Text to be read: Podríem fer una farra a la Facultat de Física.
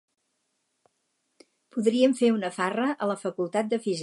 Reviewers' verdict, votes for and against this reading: rejected, 2, 4